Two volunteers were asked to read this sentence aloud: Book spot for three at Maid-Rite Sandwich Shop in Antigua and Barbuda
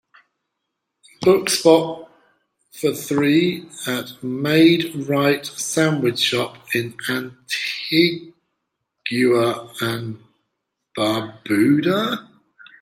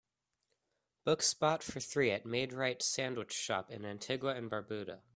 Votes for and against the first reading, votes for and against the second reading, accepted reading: 0, 3, 2, 1, second